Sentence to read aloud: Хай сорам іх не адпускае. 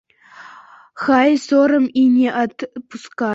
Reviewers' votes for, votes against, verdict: 0, 2, rejected